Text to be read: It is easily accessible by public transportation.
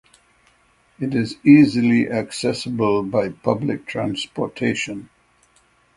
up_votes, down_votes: 6, 0